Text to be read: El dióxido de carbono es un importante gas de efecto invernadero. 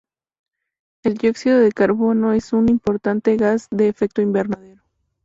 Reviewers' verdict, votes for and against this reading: rejected, 0, 2